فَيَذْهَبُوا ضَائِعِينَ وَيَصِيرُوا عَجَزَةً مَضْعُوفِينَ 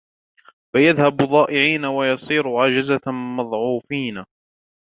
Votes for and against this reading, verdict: 2, 1, accepted